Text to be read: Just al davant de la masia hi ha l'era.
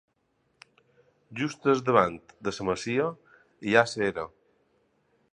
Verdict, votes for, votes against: accepted, 2, 0